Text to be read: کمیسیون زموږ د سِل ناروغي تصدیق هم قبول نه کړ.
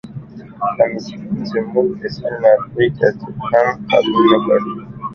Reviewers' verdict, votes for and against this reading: rejected, 0, 2